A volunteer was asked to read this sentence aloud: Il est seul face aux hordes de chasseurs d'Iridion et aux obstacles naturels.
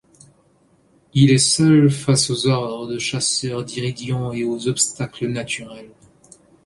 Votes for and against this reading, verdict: 1, 2, rejected